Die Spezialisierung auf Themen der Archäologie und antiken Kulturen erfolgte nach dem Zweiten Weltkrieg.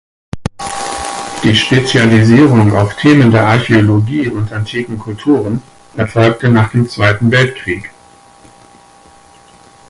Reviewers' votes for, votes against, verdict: 2, 4, rejected